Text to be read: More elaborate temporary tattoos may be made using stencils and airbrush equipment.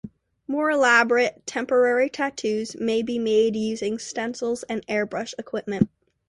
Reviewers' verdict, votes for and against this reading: accepted, 2, 0